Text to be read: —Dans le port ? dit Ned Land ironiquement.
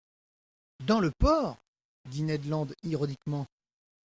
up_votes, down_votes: 2, 0